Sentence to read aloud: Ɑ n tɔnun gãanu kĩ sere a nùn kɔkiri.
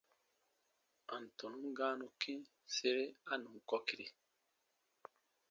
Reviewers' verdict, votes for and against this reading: rejected, 1, 2